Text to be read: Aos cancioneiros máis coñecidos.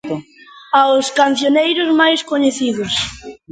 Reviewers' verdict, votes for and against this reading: rejected, 1, 2